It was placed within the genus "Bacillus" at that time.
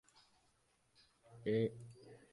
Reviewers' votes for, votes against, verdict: 0, 2, rejected